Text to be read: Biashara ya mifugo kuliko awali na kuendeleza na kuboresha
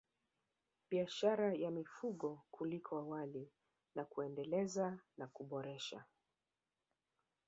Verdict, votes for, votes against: accepted, 2, 1